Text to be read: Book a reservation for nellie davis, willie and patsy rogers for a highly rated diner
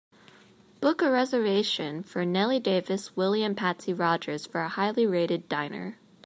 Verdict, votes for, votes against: accepted, 2, 0